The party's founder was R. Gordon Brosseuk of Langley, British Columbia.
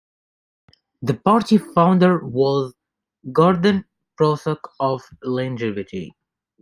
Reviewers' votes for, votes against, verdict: 0, 2, rejected